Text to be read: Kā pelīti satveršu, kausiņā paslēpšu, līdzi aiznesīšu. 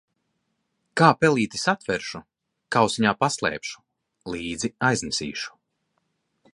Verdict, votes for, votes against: accepted, 2, 0